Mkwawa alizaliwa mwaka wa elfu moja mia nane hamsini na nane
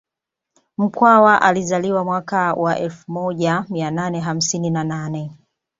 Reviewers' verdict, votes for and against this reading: accepted, 2, 0